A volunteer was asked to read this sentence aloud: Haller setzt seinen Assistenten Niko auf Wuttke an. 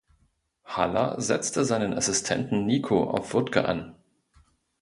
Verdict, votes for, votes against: rejected, 0, 2